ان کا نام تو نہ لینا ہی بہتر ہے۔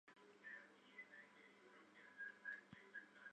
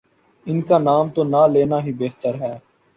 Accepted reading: second